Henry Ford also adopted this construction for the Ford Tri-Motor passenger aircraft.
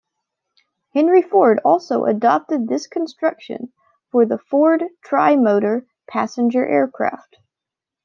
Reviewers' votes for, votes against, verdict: 2, 0, accepted